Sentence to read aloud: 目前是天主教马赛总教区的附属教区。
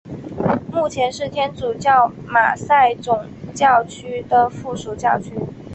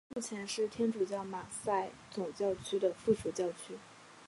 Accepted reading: first